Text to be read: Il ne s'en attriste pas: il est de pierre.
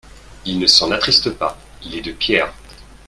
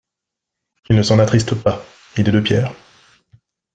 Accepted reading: first